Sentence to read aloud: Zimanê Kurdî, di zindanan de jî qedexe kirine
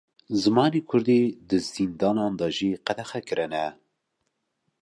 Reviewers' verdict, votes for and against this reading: accepted, 2, 0